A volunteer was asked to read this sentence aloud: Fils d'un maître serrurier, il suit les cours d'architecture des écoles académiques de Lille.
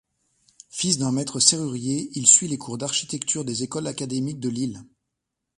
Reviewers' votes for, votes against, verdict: 2, 0, accepted